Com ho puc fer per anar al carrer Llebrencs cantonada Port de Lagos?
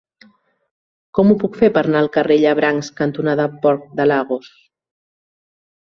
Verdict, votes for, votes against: rejected, 0, 2